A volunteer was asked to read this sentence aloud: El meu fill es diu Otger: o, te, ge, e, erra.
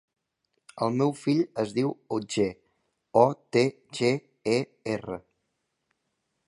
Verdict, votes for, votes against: accepted, 2, 0